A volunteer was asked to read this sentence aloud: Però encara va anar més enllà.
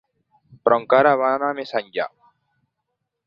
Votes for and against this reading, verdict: 3, 0, accepted